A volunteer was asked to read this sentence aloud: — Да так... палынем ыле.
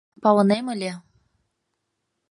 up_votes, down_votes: 1, 2